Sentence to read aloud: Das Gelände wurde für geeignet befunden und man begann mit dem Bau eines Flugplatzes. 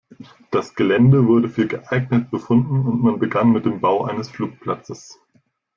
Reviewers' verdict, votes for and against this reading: accepted, 2, 0